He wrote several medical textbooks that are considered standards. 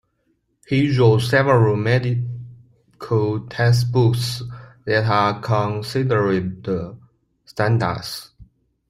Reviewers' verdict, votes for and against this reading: rejected, 1, 2